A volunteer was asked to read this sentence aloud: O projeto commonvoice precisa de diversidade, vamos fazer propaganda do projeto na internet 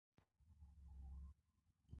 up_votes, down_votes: 0, 10